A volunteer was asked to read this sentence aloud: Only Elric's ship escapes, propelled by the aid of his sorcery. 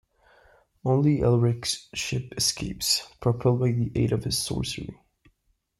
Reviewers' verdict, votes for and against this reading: accepted, 2, 0